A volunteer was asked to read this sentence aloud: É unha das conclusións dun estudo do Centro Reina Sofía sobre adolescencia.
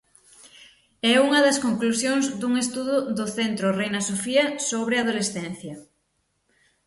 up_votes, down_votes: 6, 0